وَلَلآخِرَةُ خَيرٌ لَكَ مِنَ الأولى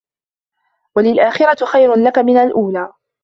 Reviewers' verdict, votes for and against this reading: rejected, 1, 2